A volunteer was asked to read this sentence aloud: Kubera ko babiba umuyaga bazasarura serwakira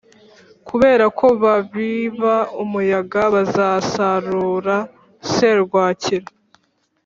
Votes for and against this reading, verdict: 2, 0, accepted